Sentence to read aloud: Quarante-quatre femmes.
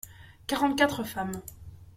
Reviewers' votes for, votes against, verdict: 2, 0, accepted